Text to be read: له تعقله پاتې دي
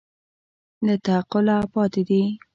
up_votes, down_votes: 2, 0